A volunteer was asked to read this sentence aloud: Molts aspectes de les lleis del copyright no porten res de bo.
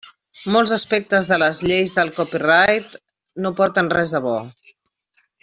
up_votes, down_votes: 3, 0